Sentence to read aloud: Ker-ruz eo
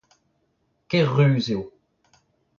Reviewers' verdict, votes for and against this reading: accepted, 2, 0